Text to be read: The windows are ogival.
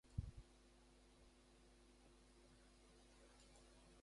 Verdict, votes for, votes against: rejected, 0, 2